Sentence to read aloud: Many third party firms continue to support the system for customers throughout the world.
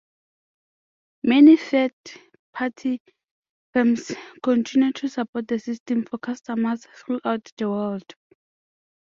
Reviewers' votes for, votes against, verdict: 2, 0, accepted